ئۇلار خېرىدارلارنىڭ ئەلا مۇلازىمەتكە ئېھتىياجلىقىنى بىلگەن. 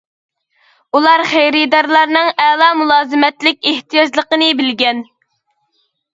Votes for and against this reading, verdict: 0, 2, rejected